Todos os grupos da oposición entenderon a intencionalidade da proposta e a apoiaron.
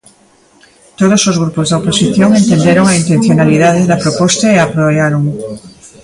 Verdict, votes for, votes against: rejected, 0, 2